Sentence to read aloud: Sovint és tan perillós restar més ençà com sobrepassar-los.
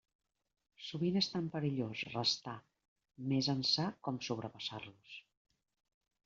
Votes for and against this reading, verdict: 1, 2, rejected